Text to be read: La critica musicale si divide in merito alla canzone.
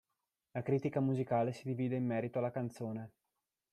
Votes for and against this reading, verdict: 0, 2, rejected